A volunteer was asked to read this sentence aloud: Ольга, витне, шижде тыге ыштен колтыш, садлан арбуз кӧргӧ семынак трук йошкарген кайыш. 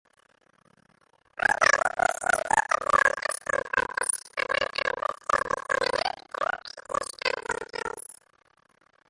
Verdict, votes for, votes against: rejected, 0, 2